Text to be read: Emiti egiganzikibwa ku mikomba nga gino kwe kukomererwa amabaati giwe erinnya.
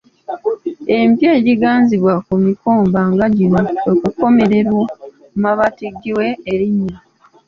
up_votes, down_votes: 1, 2